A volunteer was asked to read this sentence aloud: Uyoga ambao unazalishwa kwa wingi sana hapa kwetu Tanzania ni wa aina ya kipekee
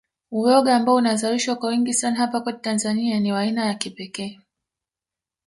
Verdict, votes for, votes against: accepted, 3, 1